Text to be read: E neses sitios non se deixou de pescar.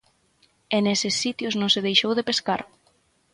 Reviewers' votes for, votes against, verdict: 6, 0, accepted